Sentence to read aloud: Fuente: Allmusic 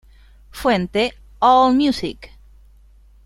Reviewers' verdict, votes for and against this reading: accepted, 2, 0